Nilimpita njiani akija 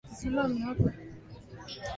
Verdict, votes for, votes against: rejected, 0, 2